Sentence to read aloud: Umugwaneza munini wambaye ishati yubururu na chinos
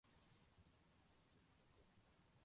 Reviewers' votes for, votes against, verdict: 0, 2, rejected